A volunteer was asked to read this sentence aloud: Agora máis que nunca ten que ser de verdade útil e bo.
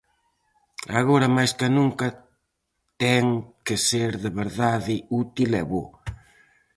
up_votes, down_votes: 4, 0